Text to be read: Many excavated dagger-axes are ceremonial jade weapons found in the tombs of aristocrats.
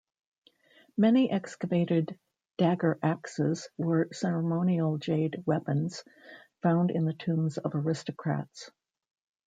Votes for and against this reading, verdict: 1, 2, rejected